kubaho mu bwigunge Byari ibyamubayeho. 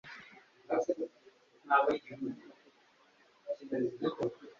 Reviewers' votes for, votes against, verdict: 1, 2, rejected